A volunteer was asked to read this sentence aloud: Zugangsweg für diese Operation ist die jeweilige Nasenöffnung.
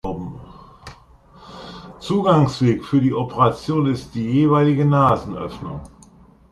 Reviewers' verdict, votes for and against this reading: accepted, 2, 1